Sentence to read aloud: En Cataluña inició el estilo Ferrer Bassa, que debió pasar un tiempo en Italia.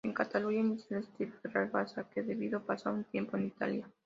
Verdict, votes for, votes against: rejected, 0, 2